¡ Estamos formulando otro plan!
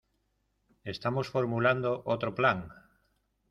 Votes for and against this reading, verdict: 0, 2, rejected